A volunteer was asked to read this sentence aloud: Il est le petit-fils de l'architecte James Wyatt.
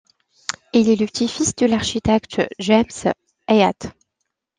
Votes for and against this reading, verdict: 1, 2, rejected